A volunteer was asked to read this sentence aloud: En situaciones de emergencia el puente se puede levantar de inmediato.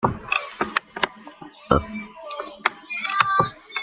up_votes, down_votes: 0, 2